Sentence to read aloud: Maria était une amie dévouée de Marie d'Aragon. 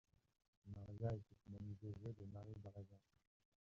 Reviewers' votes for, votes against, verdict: 1, 2, rejected